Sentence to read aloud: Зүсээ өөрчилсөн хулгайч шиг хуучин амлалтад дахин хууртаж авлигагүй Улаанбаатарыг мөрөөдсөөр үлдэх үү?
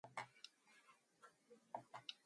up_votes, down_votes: 2, 2